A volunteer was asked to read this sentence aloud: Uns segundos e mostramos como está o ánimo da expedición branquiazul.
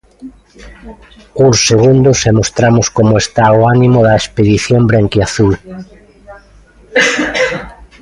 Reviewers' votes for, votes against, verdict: 2, 0, accepted